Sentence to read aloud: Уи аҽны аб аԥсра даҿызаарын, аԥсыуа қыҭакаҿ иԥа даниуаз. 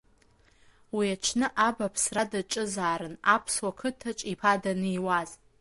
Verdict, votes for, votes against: accepted, 2, 1